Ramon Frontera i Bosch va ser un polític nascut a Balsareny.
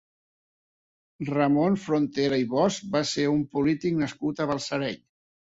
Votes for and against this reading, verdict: 3, 0, accepted